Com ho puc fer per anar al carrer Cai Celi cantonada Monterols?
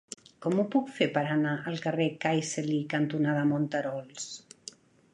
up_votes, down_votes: 4, 0